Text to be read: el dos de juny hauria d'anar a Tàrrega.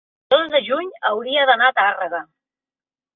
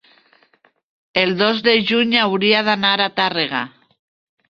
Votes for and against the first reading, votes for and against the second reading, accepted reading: 1, 2, 5, 0, second